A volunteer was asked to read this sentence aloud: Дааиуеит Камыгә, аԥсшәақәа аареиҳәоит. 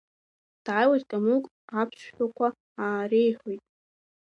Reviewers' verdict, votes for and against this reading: rejected, 0, 2